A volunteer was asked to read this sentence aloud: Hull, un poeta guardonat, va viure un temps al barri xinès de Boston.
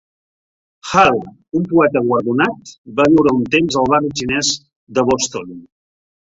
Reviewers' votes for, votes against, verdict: 1, 4, rejected